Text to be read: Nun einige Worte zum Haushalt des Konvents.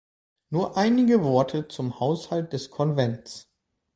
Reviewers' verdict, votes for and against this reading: rejected, 0, 2